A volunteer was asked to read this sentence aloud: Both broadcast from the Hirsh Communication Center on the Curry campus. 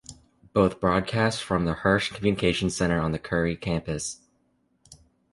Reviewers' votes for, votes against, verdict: 2, 1, accepted